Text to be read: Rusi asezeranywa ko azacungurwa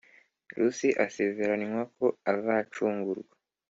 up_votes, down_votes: 2, 0